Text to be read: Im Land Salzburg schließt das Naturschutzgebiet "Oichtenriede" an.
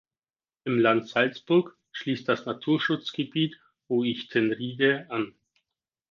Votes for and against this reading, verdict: 4, 0, accepted